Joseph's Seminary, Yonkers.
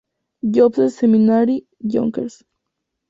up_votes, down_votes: 4, 2